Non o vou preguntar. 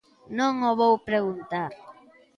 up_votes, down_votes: 2, 0